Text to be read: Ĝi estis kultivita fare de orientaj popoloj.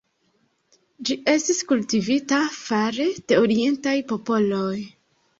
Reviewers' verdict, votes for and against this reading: rejected, 1, 2